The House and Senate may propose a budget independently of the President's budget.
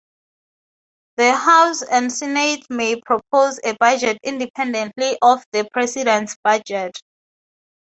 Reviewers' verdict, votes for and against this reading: accepted, 2, 0